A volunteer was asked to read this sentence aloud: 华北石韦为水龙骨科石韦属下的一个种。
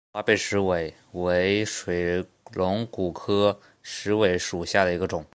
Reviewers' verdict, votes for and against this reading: accepted, 3, 1